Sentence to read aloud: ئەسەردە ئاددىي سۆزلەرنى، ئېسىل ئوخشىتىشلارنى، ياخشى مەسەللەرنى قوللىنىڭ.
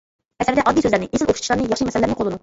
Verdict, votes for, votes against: rejected, 0, 2